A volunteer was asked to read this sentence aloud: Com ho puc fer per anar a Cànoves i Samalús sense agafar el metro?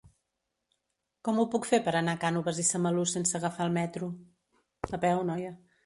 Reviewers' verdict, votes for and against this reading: rejected, 1, 2